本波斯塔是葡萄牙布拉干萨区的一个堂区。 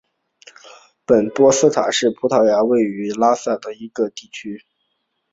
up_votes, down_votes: 0, 2